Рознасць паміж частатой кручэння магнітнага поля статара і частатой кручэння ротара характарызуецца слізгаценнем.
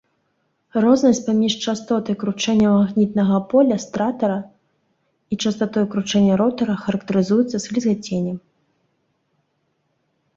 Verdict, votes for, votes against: rejected, 0, 2